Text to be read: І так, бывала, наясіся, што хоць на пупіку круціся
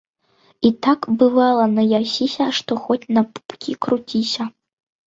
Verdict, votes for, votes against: rejected, 0, 2